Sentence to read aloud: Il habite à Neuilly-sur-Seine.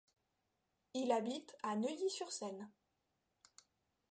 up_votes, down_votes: 2, 0